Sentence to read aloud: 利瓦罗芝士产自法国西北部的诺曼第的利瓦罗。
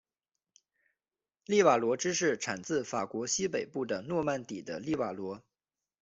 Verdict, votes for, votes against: accepted, 2, 0